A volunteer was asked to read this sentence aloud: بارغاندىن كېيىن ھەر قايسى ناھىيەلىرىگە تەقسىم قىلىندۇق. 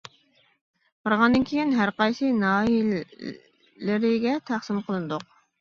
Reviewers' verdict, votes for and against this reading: rejected, 0, 2